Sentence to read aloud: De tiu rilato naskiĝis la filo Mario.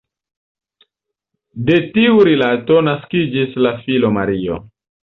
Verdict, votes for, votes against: accepted, 2, 0